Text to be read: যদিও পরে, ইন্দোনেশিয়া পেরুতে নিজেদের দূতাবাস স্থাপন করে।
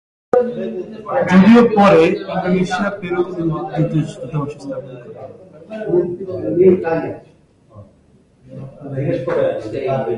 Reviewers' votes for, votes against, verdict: 0, 2, rejected